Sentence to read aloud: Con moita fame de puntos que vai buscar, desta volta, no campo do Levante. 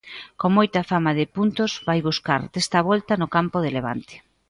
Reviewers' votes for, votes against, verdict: 0, 2, rejected